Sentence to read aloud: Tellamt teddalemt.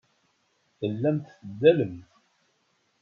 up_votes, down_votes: 1, 2